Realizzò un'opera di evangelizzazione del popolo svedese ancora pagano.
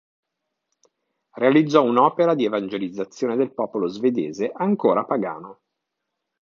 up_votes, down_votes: 2, 0